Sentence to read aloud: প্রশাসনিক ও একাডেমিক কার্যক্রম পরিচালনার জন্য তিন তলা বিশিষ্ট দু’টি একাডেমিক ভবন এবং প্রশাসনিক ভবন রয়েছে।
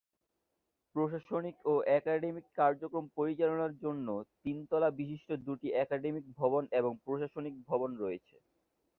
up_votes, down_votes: 2, 0